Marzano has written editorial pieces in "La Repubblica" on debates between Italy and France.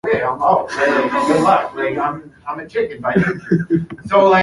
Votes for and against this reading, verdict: 0, 2, rejected